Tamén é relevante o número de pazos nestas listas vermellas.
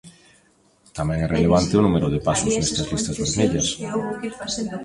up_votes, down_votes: 1, 2